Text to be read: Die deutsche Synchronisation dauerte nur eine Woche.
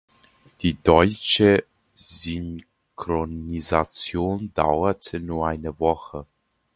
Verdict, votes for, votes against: accepted, 2, 0